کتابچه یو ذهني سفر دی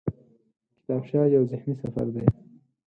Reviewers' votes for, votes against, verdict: 4, 0, accepted